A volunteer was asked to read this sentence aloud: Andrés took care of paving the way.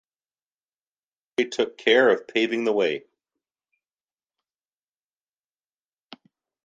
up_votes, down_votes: 1, 2